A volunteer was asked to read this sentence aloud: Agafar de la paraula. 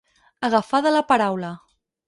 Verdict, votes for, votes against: accepted, 4, 0